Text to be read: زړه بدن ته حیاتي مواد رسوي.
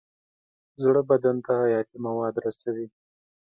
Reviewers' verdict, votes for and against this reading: accepted, 2, 0